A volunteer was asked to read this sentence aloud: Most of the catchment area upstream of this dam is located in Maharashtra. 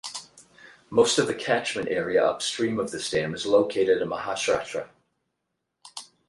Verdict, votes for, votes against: rejected, 0, 4